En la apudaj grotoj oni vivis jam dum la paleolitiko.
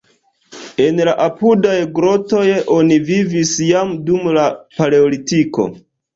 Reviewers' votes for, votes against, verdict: 2, 0, accepted